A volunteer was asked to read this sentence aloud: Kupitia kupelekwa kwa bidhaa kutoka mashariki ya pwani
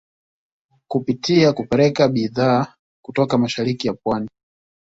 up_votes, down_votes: 1, 2